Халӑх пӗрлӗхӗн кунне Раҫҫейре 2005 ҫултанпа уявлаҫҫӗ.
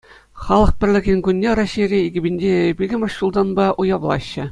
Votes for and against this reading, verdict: 0, 2, rejected